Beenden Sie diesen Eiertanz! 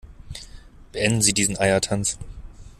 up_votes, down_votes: 2, 0